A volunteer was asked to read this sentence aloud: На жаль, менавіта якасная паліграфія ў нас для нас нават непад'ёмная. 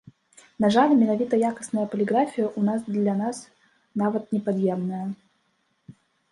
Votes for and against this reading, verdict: 1, 2, rejected